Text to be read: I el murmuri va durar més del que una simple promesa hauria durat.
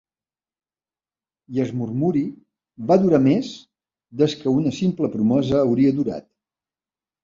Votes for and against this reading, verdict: 0, 2, rejected